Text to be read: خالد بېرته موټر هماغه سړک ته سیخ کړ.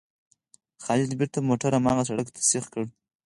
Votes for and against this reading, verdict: 4, 0, accepted